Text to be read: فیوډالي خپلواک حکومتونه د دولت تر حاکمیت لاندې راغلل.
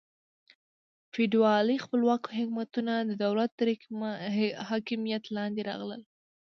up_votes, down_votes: 1, 2